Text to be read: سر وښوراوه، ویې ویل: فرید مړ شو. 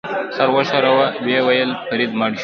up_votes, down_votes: 1, 2